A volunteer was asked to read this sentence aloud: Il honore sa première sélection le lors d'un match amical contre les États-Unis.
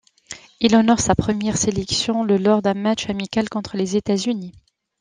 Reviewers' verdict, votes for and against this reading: accepted, 2, 0